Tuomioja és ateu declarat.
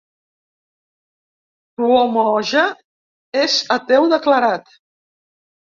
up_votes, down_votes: 1, 2